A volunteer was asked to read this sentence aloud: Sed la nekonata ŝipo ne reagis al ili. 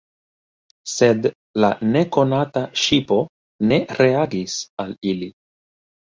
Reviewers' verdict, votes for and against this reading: accepted, 3, 0